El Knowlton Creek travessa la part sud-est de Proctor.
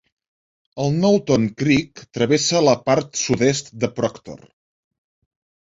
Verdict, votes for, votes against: accepted, 2, 0